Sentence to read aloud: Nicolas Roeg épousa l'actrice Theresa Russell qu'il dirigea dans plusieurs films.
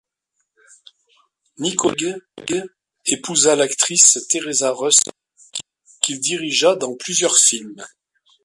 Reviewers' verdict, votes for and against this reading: rejected, 0, 2